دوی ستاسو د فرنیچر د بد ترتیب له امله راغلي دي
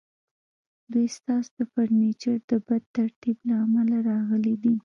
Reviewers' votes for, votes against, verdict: 1, 2, rejected